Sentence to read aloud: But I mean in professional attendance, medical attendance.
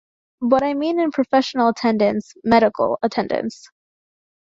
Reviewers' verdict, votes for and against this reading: accepted, 3, 0